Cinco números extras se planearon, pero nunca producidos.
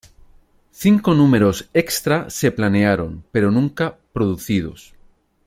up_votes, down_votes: 2, 0